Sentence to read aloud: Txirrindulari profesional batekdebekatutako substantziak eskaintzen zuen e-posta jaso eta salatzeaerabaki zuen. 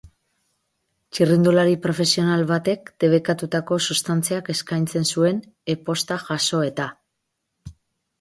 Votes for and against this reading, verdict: 2, 6, rejected